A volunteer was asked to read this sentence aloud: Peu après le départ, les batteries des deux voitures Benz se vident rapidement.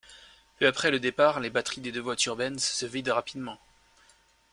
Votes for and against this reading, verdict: 2, 0, accepted